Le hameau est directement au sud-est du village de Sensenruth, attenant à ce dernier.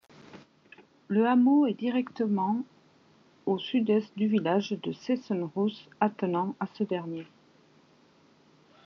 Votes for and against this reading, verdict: 1, 2, rejected